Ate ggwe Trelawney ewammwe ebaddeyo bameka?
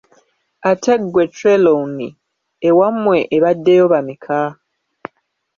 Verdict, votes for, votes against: rejected, 1, 2